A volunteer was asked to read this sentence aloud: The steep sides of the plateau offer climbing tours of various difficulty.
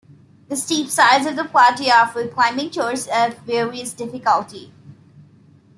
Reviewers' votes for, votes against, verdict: 2, 0, accepted